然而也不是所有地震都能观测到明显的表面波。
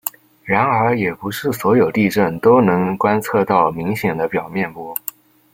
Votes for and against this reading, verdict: 2, 0, accepted